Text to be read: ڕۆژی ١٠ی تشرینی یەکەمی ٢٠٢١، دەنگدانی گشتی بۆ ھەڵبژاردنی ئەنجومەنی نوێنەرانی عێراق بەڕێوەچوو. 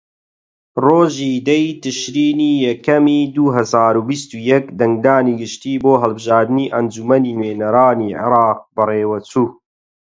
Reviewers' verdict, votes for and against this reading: rejected, 0, 2